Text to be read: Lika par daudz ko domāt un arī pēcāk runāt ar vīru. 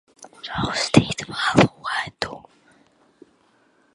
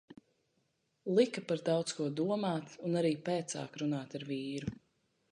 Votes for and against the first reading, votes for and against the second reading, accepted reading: 0, 2, 2, 0, second